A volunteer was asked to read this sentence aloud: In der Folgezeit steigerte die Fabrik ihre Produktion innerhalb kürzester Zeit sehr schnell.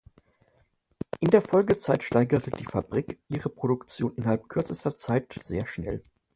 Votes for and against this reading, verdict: 1, 2, rejected